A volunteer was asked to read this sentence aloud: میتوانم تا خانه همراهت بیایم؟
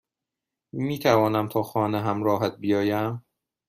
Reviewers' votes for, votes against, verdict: 2, 0, accepted